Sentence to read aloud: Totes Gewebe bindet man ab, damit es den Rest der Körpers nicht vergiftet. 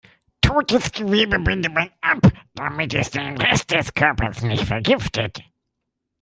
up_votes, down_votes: 2, 1